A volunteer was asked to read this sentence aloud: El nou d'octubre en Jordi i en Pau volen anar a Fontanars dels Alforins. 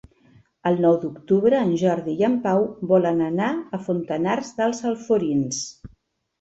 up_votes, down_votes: 2, 0